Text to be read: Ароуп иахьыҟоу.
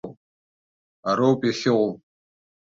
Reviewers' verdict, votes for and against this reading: accepted, 2, 1